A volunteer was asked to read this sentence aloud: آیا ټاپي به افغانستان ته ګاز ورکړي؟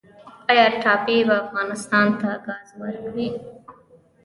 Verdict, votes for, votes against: rejected, 1, 2